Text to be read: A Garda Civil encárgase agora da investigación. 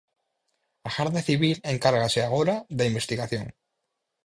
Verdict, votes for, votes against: accepted, 4, 0